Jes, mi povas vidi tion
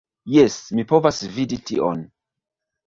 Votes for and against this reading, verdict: 2, 0, accepted